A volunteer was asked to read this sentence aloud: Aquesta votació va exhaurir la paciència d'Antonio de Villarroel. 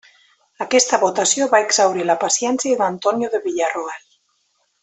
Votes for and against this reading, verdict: 2, 0, accepted